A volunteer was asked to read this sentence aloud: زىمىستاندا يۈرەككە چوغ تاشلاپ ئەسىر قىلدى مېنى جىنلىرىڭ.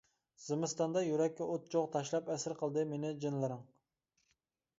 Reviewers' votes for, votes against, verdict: 0, 2, rejected